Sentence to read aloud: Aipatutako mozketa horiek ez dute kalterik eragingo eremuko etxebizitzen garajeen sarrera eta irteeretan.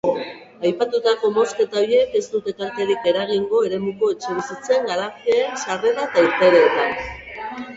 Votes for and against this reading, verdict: 2, 2, rejected